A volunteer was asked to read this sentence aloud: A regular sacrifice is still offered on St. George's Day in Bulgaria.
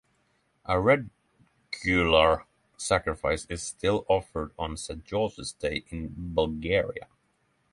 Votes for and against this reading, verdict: 3, 0, accepted